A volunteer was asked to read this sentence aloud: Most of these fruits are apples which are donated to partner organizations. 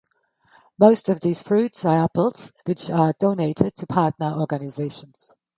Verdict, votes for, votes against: accepted, 2, 0